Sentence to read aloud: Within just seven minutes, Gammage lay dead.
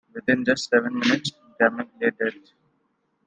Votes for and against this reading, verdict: 2, 0, accepted